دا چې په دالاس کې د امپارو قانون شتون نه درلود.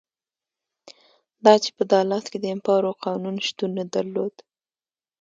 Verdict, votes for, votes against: rejected, 0, 2